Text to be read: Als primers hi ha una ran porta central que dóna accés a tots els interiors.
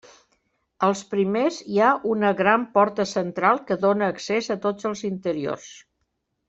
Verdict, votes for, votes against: rejected, 1, 2